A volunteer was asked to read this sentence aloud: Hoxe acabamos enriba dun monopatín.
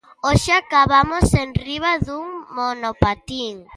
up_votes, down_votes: 2, 0